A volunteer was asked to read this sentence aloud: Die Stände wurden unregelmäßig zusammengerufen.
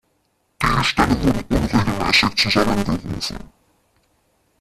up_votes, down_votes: 0, 2